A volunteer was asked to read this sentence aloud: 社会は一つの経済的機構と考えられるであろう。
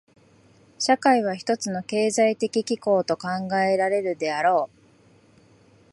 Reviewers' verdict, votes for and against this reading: accepted, 2, 0